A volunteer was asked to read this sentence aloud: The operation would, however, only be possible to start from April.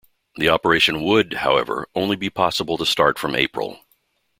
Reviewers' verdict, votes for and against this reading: accepted, 2, 0